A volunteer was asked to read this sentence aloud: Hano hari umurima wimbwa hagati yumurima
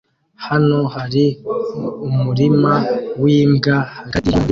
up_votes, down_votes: 1, 2